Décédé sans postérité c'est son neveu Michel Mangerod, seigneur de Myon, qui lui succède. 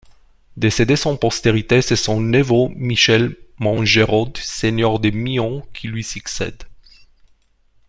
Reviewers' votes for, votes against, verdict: 2, 1, accepted